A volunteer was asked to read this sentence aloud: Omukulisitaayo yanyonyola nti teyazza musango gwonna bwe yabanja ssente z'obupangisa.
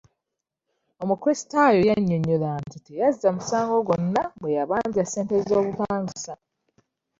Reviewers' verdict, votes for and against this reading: accepted, 2, 0